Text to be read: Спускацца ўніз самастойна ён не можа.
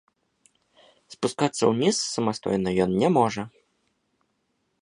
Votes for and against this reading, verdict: 2, 0, accepted